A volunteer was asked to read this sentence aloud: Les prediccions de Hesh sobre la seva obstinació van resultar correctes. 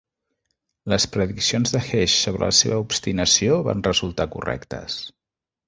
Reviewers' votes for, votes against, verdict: 2, 0, accepted